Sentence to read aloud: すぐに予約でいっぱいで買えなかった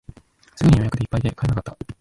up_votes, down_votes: 1, 2